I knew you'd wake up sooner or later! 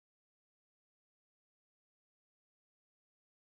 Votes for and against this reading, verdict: 0, 2, rejected